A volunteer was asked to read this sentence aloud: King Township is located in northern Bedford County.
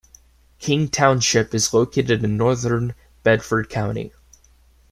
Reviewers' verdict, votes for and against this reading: accepted, 2, 0